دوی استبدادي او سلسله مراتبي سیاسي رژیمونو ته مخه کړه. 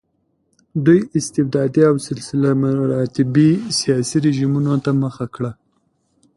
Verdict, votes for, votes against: accepted, 2, 0